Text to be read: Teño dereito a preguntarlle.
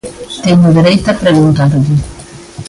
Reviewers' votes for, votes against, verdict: 0, 2, rejected